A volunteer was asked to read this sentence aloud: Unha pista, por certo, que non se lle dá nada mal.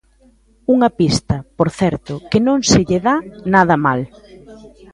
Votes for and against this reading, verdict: 1, 2, rejected